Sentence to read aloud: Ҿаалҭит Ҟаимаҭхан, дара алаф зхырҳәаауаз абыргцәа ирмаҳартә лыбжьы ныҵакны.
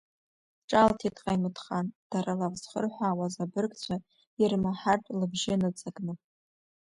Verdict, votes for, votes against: accepted, 2, 0